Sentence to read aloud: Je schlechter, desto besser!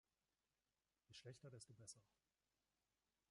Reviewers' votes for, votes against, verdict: 1, 2, rejected